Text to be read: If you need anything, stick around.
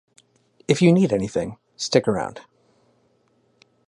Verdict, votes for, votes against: accepted, 2, 0